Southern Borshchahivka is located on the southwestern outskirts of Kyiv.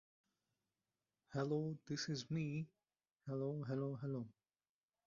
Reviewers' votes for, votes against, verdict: 0, 2, rejected